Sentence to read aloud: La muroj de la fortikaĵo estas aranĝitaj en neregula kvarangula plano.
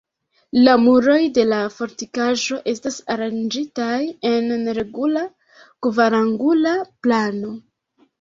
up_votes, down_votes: 2, 0